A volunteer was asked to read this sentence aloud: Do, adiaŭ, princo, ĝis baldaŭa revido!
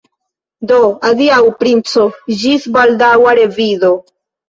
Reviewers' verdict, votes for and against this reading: accepted, 3, 0